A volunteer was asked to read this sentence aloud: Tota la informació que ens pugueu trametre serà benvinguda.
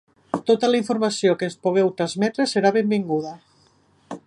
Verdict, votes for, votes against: rejected, 2, 3